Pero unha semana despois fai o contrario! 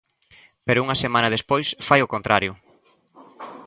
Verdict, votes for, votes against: accepted, 2, 0